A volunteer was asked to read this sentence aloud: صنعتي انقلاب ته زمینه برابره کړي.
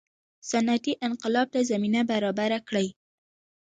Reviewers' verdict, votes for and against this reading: rejected, 1, 2